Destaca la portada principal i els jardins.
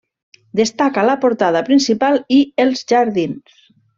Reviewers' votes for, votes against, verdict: 3, 0, accepted